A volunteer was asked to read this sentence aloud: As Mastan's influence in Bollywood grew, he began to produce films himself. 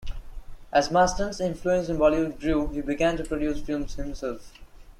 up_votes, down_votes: 2, 1